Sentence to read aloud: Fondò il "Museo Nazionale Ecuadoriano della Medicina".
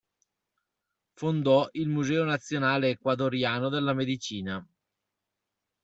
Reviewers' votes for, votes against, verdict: 2, 0, accepted